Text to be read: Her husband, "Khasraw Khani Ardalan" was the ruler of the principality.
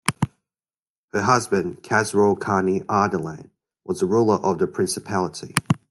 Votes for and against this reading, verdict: 2, 0, accepted